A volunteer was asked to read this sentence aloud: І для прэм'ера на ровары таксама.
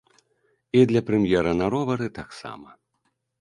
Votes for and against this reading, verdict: 2, 1, accepted